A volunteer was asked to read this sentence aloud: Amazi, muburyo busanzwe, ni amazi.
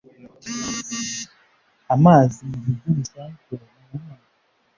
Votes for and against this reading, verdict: 1, 2, rejected